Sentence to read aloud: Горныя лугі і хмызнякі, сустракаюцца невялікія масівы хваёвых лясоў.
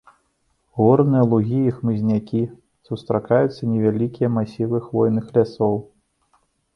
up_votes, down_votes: 0, 2